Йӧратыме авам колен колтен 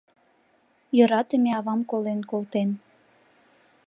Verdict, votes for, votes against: accepted, 2, 0